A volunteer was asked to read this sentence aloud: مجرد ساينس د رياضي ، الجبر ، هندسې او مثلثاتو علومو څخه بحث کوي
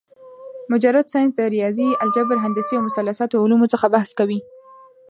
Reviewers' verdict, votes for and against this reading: rejected, 0, 2